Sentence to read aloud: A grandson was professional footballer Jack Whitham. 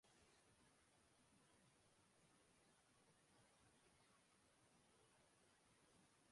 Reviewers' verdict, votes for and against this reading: rejected, 0, 2